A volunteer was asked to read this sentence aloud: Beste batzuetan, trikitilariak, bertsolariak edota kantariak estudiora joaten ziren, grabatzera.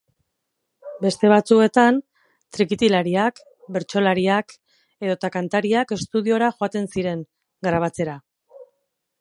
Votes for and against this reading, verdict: 4, 0, accepted